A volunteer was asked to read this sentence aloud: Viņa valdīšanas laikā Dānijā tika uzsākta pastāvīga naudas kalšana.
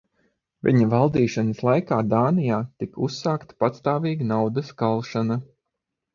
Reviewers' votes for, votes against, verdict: 3, 3, rejected